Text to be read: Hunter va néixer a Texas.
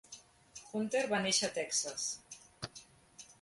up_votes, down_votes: 1, 2